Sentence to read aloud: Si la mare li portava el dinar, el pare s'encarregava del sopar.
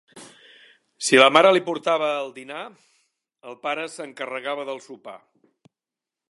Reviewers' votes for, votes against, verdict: 3, 0, accepted